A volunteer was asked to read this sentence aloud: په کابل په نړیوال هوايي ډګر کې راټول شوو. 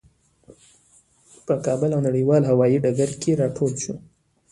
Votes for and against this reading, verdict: 2, 0, accepted